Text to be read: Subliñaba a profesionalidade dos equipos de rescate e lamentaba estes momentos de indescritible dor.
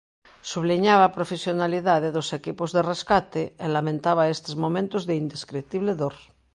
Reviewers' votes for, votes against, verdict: 2, 0, accepted